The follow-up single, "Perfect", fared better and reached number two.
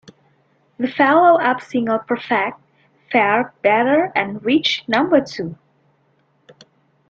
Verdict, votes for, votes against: rejected, 0, 2